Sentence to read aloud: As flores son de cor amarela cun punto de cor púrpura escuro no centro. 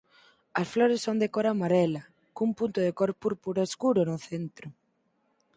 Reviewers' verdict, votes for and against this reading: accepted, 4, 0